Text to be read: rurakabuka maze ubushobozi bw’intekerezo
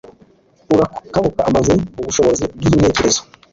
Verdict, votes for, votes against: accepted, 2, 0